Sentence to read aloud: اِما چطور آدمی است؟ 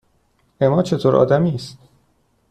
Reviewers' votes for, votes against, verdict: 2, 0, accepted